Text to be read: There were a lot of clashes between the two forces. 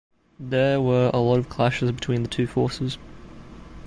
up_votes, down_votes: 2, 0